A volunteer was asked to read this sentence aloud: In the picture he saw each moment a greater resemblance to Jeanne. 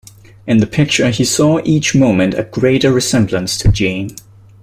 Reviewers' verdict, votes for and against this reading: accepted, 2, 1